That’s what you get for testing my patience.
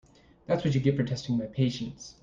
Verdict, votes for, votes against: accepted, 2, 0